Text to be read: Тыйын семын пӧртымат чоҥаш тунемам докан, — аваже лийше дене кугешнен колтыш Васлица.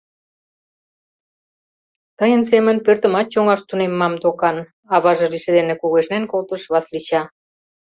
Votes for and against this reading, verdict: 0, 2, rejected